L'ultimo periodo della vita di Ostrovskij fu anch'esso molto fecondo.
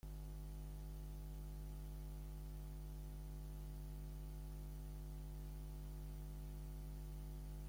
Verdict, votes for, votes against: rejected, 0, 2